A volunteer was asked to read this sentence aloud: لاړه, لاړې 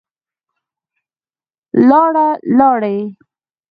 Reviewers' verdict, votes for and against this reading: accepted, 3, 0